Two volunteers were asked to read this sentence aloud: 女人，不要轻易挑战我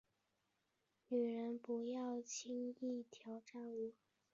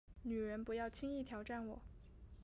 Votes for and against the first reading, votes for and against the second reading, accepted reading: 5, 0, 2, 3, first